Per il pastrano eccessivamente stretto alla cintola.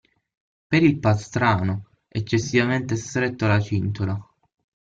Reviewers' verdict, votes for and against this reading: accepted, 6, 0